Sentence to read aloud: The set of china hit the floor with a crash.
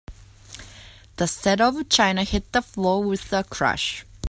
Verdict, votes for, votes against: accepted, 2, 0